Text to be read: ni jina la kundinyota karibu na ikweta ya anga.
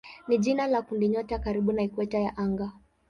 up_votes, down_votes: 17, 6